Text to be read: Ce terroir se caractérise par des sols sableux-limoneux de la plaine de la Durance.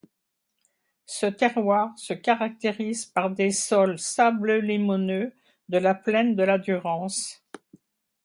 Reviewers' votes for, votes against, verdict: 2, 0, accepted